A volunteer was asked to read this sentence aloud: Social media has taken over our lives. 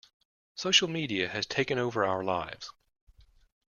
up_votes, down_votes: 2, 0